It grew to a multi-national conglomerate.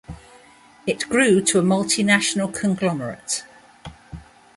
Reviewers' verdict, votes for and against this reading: rejected, 0, 2